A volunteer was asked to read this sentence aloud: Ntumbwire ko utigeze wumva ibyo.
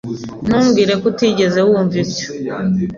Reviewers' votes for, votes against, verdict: 2, 0, accepted